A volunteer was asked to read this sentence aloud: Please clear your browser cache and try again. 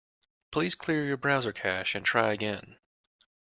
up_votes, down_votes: 2, 0